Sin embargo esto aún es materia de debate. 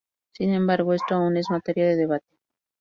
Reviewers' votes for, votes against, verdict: 2, 0, accepted